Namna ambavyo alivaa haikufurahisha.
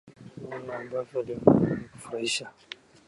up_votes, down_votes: 1, 2